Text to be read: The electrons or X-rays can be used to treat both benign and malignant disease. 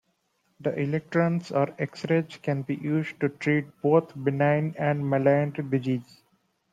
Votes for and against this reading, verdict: 1, 2, rejected